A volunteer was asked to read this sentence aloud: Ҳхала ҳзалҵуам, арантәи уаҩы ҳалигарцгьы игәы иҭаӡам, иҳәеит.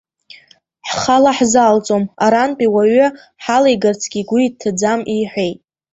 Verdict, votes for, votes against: rejected, 1, 2